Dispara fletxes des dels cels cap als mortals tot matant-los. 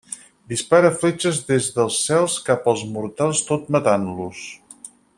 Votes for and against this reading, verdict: 6, 0, accepted